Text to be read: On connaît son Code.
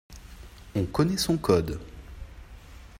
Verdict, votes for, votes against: accepted, 2, 0